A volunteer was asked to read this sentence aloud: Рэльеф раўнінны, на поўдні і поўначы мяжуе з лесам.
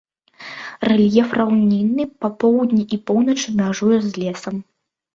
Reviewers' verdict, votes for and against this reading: rejected, 0, 2